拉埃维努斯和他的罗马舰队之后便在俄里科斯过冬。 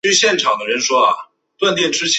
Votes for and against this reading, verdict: 1, 4, rejected